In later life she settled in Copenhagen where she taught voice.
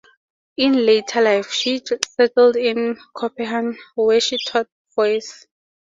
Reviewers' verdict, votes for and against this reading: accepted, 2, 0